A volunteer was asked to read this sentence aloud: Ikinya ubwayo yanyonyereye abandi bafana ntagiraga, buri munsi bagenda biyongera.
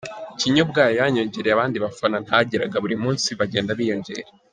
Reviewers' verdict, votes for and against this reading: accepted, 2, 1